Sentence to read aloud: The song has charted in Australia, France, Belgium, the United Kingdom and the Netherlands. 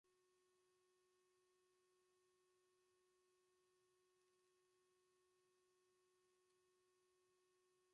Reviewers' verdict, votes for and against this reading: rejected, 0, 2